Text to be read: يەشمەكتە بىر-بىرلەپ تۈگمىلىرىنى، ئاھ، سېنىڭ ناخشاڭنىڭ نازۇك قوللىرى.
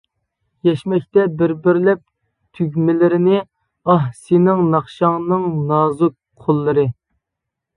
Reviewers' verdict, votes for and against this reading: accepted, 2, 1